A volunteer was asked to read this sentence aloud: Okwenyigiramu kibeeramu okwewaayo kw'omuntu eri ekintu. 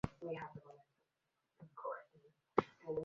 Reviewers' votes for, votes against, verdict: 0, 2, rejected